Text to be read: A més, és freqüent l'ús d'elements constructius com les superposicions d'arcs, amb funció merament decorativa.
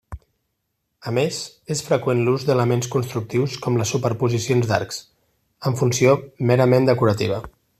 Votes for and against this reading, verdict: 2, 0, accepted